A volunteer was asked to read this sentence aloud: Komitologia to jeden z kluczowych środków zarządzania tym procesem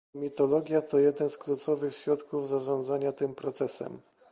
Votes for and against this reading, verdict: 2, 0, accepted